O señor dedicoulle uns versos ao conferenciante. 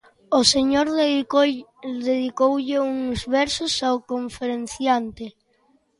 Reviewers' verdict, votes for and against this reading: accepted, 2, 0